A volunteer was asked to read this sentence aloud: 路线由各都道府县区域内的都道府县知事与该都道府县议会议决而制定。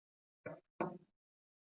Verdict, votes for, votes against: rejected, 0, 2